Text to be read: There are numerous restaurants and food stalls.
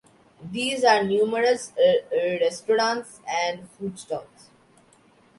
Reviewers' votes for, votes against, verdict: 0, 2, rejected